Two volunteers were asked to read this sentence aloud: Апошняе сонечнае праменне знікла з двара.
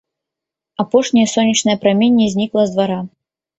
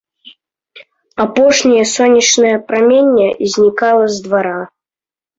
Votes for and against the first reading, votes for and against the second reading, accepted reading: 2, 0, 1, 2, first